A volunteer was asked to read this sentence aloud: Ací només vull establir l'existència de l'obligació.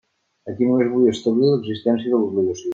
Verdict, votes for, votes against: rejected, 1, 2